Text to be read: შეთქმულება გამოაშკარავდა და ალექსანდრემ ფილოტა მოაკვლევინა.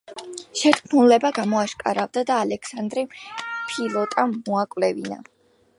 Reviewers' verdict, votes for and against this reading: accepted, 2, 0